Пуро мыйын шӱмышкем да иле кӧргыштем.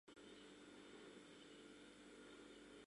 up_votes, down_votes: 0, 2